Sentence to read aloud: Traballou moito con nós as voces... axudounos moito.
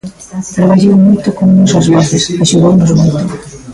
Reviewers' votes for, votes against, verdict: 0, 2, rejected